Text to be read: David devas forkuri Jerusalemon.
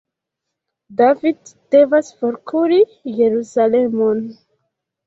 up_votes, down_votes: 2, 1